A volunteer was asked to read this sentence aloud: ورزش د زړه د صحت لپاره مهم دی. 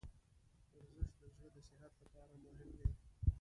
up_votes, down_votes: 0, 2